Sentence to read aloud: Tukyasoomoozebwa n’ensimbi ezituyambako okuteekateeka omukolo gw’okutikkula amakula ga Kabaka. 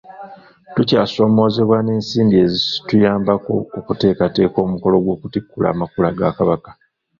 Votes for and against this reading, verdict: 0, 2, rejected